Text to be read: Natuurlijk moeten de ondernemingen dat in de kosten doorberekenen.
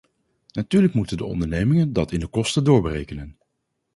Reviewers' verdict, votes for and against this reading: accepted, 4, 0